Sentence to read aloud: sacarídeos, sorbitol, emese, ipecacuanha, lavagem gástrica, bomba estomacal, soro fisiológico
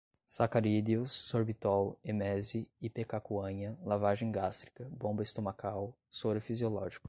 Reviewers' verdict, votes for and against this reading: accepted, 2, 0